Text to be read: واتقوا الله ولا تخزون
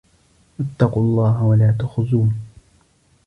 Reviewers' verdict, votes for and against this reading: accepted, 2, 0